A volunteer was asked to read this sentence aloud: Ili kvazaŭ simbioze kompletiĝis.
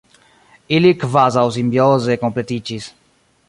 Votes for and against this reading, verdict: 1, 2, rejected